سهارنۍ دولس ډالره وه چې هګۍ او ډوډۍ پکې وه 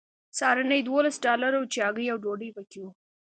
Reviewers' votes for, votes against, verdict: 2, 0, accepted